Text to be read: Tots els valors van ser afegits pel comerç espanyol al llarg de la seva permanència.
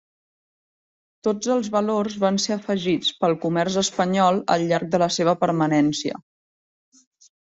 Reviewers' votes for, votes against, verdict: 0, 2, rejected